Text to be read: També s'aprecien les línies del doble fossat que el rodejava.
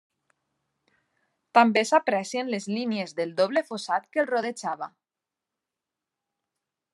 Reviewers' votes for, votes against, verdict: 2, 0, accepted